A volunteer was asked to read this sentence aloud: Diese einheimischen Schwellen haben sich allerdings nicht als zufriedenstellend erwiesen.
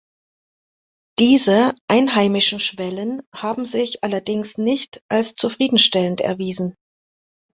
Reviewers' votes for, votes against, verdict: 2, 0, accepted